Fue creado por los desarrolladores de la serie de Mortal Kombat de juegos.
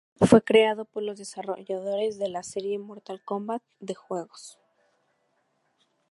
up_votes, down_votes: 2, 0